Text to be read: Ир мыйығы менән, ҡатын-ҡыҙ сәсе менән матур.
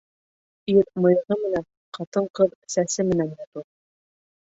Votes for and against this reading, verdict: 1, 2, rejected